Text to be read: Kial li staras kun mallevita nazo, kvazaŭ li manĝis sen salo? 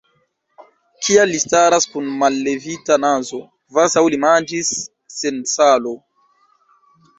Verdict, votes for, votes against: rejected, 1, 2